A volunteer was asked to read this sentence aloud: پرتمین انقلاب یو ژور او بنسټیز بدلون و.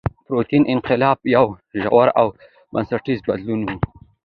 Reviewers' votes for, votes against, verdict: 2, 0, accepted